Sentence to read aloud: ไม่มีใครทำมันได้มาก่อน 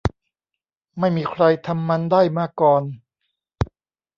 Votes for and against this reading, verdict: 1, 2, rejected